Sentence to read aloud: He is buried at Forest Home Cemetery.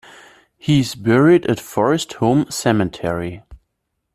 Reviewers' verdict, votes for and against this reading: rejected, 0, 2